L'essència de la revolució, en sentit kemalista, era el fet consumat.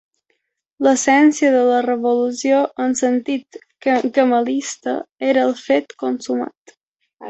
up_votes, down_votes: 1, 2